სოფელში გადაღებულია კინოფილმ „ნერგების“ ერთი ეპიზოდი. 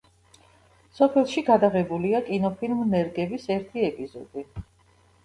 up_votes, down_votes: 2, 0